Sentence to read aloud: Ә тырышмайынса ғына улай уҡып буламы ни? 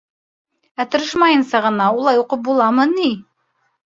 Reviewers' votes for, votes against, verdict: 2, 0, accepted